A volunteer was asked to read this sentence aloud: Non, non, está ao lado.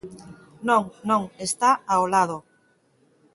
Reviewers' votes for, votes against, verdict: 2, 0, accepted